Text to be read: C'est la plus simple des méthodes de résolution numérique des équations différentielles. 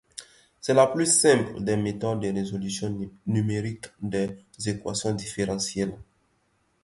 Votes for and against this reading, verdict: 0, 2, rejected